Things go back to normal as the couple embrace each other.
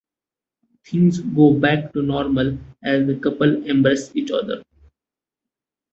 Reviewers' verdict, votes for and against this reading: accepted, 2, 0